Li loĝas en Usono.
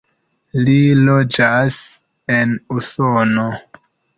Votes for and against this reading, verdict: 2, 1, accepted